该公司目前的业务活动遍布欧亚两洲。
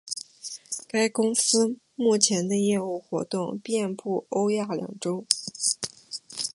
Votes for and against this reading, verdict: 4, 3, accepted